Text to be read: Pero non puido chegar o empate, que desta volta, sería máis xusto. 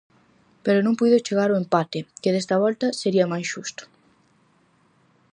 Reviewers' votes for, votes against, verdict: 4, 0, accepted